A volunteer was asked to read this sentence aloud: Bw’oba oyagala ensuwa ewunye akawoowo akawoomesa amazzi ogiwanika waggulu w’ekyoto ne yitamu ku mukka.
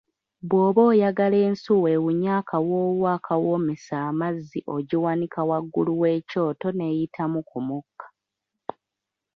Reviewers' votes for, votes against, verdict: 3, 1, accepted